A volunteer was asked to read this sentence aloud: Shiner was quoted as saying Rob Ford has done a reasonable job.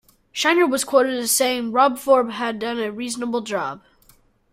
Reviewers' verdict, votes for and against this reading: rejected, 1, 2